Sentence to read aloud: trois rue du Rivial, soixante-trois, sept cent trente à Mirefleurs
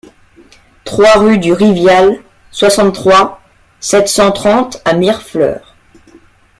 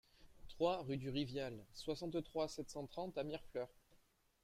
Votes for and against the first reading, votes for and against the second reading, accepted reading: 2, 0, 0, 2, first